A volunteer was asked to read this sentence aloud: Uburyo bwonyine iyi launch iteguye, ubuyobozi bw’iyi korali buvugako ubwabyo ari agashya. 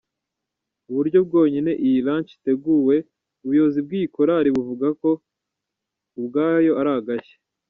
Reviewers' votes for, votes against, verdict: 0, 2, rejected